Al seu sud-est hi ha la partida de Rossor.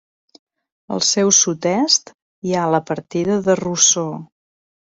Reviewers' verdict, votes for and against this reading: accepted, 2, 0